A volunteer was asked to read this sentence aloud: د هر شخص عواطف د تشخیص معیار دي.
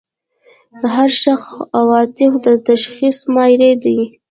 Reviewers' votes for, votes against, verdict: 0, 2, rejected